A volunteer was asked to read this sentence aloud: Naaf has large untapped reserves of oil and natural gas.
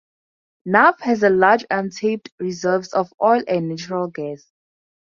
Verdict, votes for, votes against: rejected, 0, 4